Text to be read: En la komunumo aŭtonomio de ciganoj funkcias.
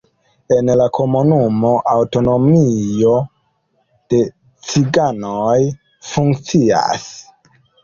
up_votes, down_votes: 2, 0